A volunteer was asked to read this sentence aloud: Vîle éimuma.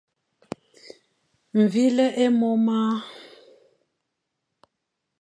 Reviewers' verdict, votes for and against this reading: rejected, 1, 3